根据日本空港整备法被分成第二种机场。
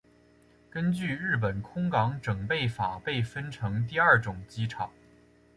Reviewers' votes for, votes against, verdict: 3, 0, accepted